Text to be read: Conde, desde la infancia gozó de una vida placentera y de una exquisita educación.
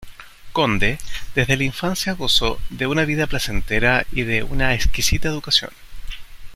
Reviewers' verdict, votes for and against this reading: accepted, 2, 0